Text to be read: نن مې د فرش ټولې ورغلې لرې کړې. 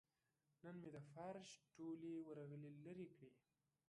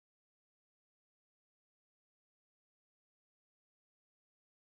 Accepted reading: first